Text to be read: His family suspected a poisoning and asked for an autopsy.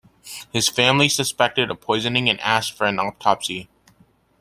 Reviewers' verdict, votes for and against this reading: accepted, 2, 0